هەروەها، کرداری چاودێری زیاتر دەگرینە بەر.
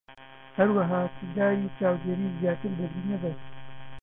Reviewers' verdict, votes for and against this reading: rejected, 1, 2